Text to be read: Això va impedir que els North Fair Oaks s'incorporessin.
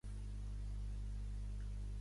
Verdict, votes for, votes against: rejected, 0, 2